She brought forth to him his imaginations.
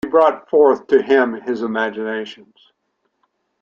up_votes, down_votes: 2, 0